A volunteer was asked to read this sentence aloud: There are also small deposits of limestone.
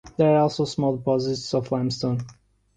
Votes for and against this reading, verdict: 1, 2, rejected